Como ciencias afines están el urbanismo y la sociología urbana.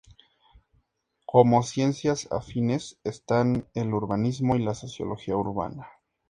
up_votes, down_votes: 2, 0